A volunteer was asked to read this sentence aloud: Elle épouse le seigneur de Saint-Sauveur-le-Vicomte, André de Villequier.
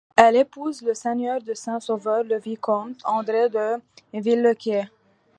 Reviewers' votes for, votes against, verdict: 2, 0, accepted